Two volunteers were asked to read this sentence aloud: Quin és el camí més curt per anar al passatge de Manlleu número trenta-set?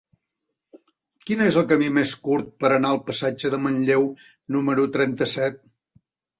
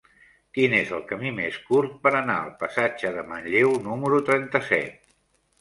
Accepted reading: first